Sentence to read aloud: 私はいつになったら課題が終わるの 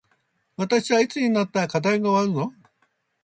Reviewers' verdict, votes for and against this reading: accepted, 3, 0